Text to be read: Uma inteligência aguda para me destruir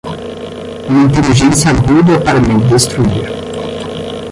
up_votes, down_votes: 10, 10